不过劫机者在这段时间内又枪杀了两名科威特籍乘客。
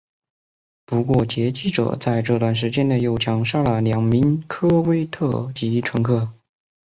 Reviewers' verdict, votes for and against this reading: accepted, 3, 1